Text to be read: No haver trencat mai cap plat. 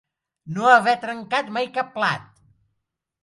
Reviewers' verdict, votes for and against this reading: accepted, 2, 0